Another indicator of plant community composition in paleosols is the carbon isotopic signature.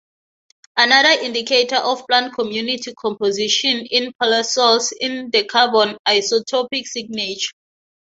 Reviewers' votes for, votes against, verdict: 3, 0, accepted